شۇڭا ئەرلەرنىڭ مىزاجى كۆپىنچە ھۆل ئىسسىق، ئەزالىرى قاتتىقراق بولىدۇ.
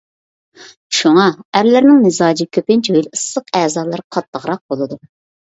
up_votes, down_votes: 2, 0